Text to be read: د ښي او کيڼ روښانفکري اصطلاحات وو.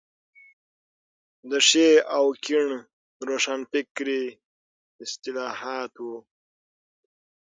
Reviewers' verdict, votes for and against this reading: accepted, 15, 3